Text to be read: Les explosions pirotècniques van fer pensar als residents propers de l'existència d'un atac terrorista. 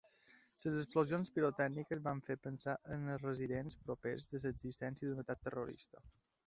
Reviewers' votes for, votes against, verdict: 2, 3, rejected